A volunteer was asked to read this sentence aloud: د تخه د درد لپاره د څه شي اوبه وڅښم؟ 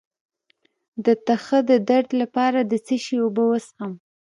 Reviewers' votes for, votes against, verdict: 1, 2, rejected